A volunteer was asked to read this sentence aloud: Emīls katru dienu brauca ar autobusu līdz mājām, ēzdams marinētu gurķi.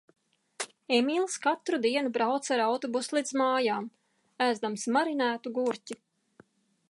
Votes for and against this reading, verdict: 2, 0, accepted